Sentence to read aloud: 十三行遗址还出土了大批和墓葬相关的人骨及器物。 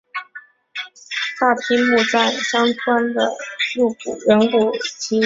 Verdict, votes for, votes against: rejected, 0, 3